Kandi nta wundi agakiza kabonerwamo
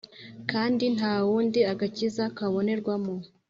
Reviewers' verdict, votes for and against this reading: accepted, 2, 0